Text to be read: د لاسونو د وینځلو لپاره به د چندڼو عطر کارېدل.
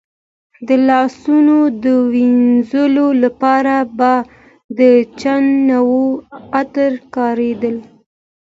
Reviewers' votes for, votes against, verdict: 2, 1, accepted